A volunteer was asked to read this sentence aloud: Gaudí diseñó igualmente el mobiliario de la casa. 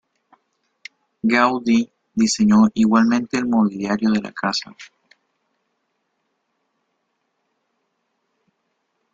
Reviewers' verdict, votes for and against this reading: accepted, 2, 1